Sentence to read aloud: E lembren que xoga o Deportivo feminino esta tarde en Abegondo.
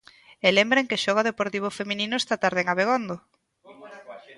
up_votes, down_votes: 1, 2